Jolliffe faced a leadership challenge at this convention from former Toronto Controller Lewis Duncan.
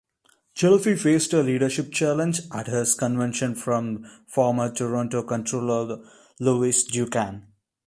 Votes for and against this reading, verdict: 0, 3, rejected